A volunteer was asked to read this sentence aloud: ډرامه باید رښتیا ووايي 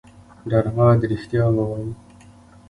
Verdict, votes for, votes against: rejected, 1, 2